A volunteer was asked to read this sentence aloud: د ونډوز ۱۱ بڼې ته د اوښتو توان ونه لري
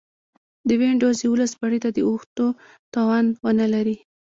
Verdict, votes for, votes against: rejected, 0, 2